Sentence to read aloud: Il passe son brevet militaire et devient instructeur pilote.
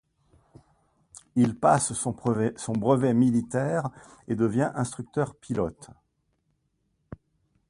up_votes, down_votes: 1, 2